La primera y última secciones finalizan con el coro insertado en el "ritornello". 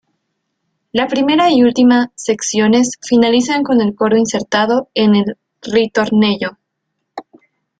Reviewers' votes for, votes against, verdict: 2, 0, accepted